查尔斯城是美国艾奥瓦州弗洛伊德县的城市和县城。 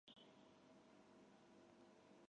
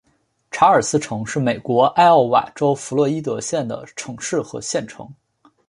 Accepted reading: second